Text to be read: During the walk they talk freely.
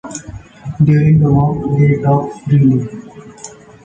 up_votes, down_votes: 0, 2